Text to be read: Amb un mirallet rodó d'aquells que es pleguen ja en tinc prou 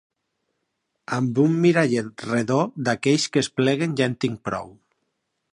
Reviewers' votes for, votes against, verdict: 1, 2, rejected